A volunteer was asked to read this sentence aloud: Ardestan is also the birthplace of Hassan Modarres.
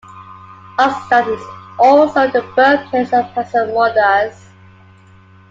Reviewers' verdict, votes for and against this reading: accepted, 2, 0